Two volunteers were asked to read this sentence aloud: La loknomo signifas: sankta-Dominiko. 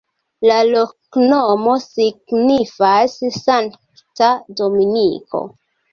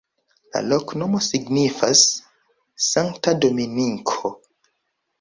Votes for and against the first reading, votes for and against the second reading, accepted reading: 2, 0, 1, 2, first